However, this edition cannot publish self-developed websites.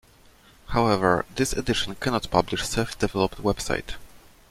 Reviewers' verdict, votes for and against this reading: rejected, 0, 2